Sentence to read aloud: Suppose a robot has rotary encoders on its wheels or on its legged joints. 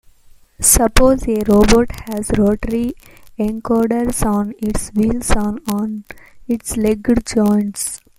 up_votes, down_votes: 2, 1